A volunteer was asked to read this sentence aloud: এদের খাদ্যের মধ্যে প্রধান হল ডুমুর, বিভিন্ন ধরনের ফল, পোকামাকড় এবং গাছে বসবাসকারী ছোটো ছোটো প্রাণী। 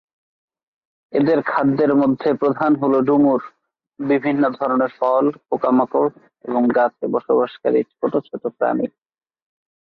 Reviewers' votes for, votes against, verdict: 4, 0, accepted